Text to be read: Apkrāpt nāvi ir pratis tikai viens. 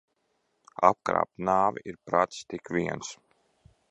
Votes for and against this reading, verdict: 0, 2, rejected